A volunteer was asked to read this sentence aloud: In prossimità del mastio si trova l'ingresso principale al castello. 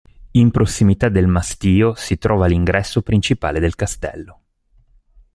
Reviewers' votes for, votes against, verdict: 1, 2, rejected